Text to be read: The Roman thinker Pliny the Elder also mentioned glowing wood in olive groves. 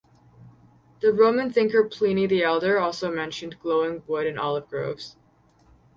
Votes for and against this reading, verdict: 0, 2, rejected